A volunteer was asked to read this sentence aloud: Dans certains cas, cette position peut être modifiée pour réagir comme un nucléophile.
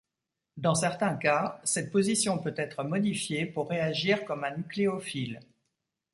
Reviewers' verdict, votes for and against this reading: accepted, 2, 0